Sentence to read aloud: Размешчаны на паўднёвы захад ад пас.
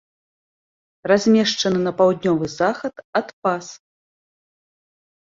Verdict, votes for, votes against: accepted, 2, 0